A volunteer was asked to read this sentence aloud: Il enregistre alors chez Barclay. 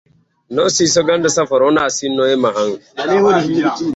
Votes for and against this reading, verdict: 0, 2, rejected